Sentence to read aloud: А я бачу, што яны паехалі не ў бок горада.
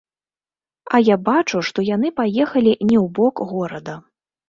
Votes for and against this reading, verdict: 0, 2, rejected